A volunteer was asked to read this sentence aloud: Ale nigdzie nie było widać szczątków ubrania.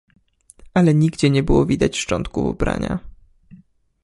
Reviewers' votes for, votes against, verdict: 1, 2, rejected